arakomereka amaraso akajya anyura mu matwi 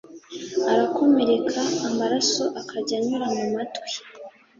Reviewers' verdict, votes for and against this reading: accepted, 3, 0